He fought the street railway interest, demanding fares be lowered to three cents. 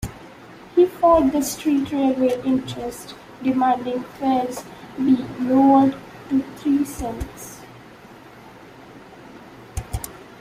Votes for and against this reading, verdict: 2, 0, accepted